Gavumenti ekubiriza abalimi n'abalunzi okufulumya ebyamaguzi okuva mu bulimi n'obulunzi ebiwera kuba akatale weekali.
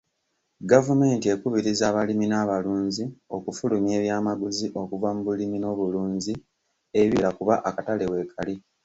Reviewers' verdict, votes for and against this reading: accepted, 2, 1